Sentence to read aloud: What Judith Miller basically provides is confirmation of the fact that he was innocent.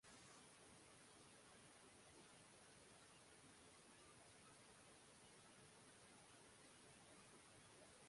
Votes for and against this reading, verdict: 0, 2, rejected